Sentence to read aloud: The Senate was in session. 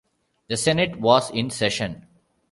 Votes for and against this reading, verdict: 2, 0, accepted